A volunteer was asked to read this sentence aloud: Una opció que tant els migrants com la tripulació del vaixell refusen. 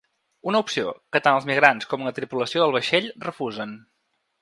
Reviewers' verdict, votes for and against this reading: accepted, 3, 0